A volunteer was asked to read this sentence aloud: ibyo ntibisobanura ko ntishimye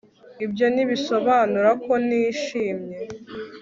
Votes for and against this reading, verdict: 2, 0, accepted